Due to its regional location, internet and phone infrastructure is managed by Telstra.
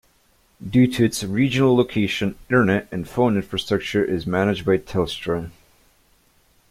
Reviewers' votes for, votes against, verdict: 2, 0, accepted